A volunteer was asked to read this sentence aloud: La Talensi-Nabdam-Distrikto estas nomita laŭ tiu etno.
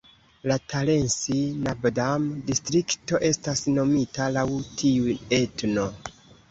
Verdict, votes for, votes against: rejected, 1, 2